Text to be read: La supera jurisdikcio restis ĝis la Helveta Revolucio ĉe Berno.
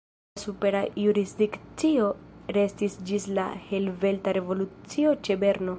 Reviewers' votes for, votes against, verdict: 1, 2, rejected